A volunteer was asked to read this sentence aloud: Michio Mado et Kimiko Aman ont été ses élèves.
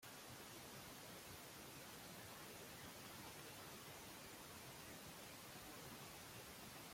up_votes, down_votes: 0, 2